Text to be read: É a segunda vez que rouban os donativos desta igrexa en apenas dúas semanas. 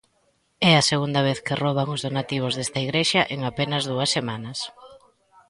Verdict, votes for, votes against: rejected, 1, 2